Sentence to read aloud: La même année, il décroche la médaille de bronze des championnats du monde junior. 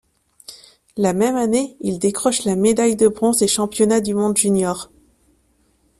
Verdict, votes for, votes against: accepted, 2, 0